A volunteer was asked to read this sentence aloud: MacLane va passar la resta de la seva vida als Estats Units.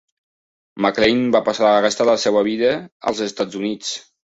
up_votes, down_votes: 2, 0